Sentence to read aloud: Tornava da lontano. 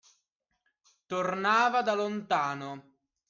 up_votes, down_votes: 2, 0